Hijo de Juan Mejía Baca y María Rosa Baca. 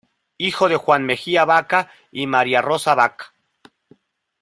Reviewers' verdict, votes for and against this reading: accepted, 2, 0